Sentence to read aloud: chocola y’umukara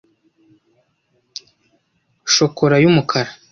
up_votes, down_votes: 2, 0